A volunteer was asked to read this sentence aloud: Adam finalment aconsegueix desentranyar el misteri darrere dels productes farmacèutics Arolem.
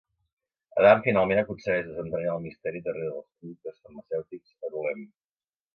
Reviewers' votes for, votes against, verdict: 1, 2, rejected